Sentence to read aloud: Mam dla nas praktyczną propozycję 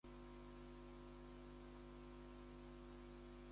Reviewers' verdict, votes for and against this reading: rejected, 0, 2